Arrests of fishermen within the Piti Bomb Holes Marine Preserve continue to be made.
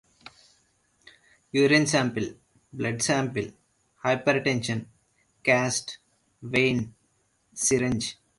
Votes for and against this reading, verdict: 0, 2, rejected